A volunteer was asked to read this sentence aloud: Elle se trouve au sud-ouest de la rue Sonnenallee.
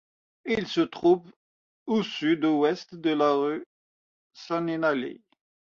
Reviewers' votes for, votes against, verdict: 2, 0, accepted